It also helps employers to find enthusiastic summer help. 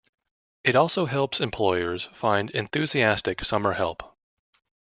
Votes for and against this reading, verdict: 1, 2, rejected